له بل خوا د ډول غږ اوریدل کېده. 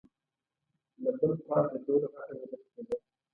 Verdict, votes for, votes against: rejected, 1, 2